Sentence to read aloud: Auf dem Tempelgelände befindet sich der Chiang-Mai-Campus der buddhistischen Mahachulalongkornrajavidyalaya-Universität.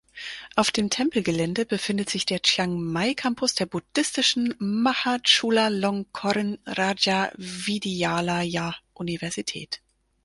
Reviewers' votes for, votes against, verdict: 4, 0, accepted